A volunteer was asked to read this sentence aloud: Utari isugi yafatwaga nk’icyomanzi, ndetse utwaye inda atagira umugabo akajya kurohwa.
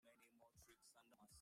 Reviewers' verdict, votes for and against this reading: rejected, 0, 2